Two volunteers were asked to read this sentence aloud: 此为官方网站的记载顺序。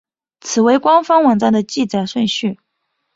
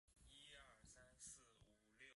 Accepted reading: first